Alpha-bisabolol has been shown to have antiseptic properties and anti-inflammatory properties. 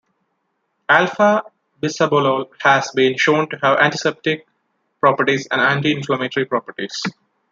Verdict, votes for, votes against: accepted, 2, 0